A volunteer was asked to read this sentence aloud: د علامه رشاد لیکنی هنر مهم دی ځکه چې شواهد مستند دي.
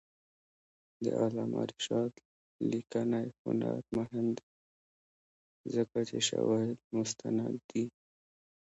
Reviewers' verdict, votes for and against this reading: rejected, 1, 2